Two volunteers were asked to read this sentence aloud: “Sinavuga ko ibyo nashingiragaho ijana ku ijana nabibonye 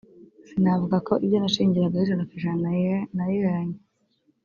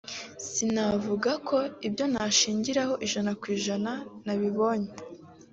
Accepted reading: second